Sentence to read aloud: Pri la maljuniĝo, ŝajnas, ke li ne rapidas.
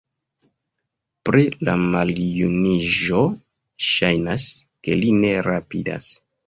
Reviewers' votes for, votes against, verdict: 1, 2, rejected